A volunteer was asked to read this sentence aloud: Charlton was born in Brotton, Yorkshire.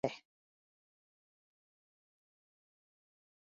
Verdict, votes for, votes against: rejected, 0, 2